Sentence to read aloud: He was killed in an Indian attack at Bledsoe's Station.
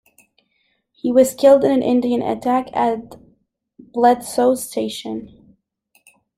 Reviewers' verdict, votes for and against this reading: accepted, 2, 0